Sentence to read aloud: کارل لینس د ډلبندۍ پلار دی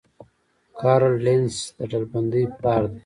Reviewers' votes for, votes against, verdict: 2, 0, accepted